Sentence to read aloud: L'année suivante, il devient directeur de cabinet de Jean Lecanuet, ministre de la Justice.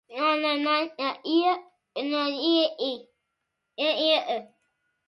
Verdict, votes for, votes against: rejected, 0, 2